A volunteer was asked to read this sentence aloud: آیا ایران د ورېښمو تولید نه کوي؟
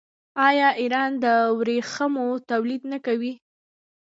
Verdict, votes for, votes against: rejected, 1, 2